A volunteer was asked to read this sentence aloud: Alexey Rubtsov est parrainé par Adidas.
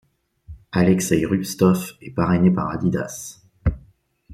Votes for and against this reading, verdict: 0, 2, rejected